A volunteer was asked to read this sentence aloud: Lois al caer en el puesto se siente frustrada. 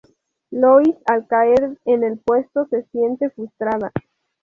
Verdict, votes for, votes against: accepted, 4, 0